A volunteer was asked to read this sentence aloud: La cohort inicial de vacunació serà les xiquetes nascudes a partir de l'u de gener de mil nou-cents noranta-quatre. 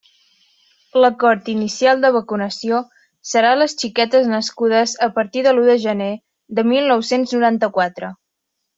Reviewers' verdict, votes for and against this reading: accepted, 2, 1